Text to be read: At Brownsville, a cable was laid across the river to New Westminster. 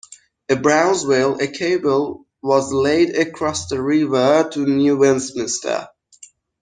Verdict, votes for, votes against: rejected, 1, 2